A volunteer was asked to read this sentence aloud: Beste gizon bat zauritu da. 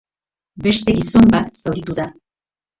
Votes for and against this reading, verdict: 0, 2, rejected